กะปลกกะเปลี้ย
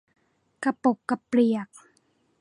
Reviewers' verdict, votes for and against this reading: rejected, 0, 2